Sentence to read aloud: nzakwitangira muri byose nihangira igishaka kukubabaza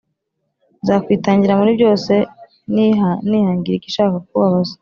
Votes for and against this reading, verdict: 1, 2, rejected